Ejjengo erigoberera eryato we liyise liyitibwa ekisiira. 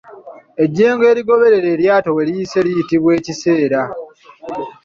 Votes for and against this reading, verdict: 1, 2, rejected